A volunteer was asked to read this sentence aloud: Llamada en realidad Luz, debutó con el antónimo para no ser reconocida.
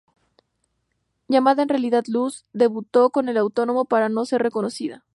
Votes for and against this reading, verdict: 0, 2, rejected